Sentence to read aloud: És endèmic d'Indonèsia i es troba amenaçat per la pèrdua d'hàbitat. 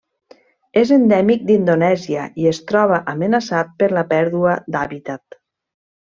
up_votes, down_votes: 3, 0